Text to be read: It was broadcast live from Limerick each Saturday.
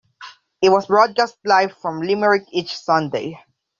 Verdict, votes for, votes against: rejected, 1, 2